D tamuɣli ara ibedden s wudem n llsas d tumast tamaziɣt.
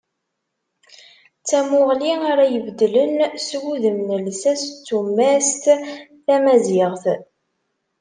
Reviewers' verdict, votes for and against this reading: rejected, 0, 2